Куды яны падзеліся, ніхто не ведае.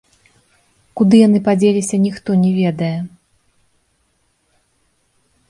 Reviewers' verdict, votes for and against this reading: accepted, 2, 0